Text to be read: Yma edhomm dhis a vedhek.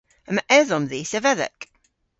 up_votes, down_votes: 2, 1